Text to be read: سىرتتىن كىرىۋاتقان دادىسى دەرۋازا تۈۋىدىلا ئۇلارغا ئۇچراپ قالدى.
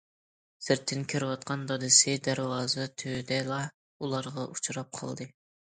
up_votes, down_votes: 2, 0